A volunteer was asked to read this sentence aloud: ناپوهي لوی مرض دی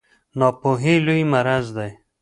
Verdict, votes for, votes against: rejected, 1, 2